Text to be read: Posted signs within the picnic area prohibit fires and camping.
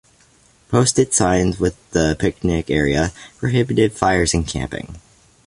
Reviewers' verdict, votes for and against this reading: rejected, 1, 2